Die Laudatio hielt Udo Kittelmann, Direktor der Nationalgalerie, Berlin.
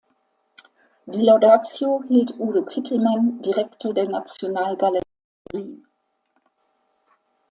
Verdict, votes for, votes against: rejected, 0, 2